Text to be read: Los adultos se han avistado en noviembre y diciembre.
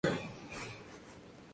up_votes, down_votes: 0, 2